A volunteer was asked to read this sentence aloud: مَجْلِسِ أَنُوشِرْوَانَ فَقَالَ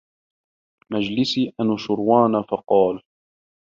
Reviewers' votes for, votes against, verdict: 2, 0, accepted